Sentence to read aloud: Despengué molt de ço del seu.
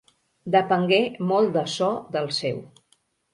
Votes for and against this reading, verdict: 4, 0, accepted